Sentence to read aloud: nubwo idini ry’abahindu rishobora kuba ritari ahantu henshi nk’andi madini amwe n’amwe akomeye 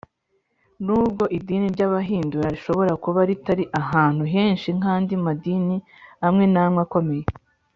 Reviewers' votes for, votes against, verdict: 0, 2, rejected